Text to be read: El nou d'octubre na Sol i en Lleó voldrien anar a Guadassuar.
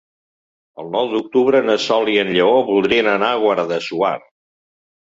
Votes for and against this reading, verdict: 1, 2, rejected